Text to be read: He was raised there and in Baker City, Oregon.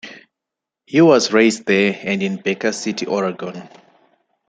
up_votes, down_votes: 0, 2